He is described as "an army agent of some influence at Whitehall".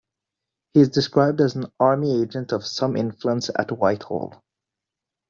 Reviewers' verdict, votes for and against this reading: accepted, 2, 1